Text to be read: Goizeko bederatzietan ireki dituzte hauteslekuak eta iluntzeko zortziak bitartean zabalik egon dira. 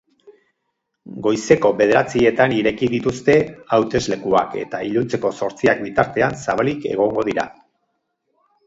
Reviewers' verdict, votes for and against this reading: rejected, 2, 8